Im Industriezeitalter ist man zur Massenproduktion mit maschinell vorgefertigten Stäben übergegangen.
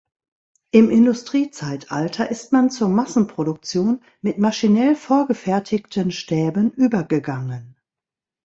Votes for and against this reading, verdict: 2, 0, accepted